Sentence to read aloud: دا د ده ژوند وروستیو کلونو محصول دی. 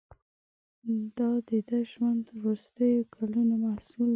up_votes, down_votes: 1, 2